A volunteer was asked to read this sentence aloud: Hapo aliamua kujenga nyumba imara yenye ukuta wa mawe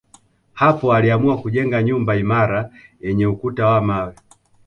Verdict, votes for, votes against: accepted, 2, 1